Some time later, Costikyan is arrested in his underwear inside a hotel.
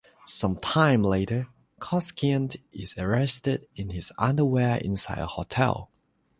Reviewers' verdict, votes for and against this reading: accepted, 3, 0